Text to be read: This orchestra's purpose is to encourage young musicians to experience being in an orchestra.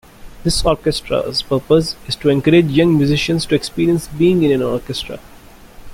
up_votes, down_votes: 0, 3